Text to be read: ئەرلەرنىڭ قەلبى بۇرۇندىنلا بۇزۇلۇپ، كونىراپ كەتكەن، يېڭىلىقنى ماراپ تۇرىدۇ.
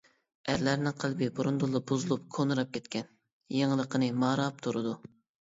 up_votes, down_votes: 0, 2